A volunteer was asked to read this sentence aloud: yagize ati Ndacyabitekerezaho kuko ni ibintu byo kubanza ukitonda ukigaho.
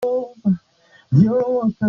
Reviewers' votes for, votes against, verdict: 0, 2, rejected